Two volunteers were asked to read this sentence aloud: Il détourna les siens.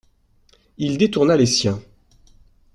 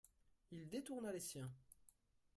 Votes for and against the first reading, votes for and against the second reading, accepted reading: 2, 0, 1, 2, first